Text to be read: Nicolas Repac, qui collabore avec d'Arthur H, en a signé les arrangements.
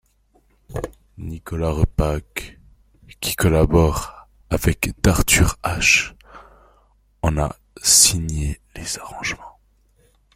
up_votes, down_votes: 2, 0